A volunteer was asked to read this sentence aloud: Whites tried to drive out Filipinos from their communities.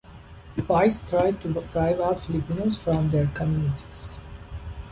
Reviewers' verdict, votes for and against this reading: rejected, 1, 2